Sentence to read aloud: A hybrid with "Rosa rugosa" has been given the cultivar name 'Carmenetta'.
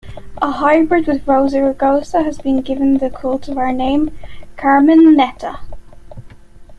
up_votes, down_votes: 2, 0